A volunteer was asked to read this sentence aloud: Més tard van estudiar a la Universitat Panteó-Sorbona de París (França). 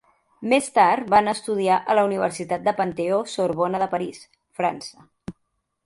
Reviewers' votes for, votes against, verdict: 1, 2, rejected